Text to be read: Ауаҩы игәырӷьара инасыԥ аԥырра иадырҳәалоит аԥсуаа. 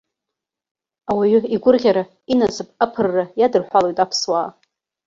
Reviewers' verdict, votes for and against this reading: accepted, 2, 0